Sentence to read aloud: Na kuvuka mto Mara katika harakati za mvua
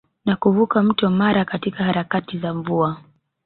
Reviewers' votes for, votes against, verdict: 0, 2, rejected